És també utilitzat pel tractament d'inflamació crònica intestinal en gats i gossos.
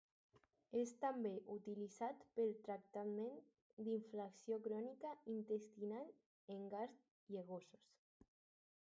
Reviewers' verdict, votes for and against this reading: rejected, 0, 2